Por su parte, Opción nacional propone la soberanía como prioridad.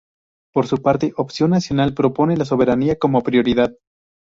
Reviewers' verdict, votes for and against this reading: rejected, 2, 2